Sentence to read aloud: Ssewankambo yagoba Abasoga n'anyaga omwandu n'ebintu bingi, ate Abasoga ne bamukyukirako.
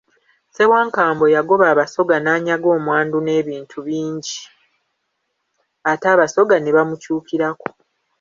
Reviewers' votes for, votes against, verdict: 2, 0, accepted